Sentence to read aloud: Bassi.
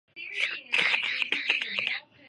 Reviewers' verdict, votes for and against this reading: rejected, 0, 2